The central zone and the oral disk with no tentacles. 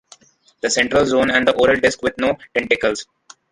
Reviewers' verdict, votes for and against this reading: accepted, 2, 1